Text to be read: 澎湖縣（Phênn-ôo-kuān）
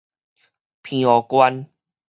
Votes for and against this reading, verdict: 2, 2, rejected